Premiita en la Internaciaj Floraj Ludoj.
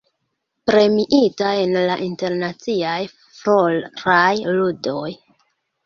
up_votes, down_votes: 2, 1